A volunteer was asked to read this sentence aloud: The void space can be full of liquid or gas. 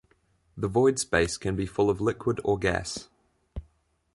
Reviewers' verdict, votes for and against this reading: accepted, 2, 0